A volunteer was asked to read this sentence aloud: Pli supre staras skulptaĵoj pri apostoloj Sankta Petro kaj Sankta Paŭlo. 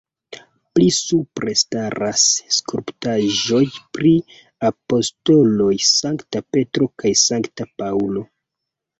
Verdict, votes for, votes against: accepted, 3, 0